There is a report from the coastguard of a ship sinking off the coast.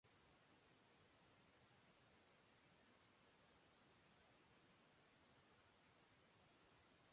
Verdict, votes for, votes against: rejected, 0, 2